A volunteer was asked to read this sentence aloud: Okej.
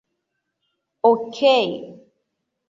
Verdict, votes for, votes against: rejected, 1, 2